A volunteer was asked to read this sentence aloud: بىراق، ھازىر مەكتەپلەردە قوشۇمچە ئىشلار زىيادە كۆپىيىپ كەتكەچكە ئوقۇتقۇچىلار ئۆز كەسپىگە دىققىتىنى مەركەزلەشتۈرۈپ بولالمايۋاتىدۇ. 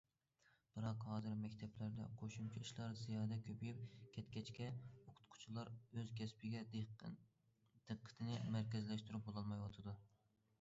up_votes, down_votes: 1, 2